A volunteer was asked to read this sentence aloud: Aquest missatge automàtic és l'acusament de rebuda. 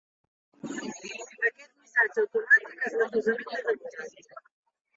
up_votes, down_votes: 1, 2